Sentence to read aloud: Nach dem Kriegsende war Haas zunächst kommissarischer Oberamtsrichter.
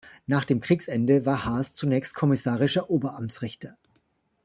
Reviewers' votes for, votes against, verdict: 2, 0, accepted